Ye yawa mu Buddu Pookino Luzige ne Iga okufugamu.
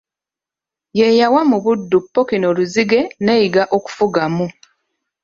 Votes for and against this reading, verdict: 2, 1, accepted